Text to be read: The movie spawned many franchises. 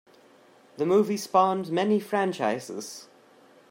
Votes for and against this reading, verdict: 2, 0, accepted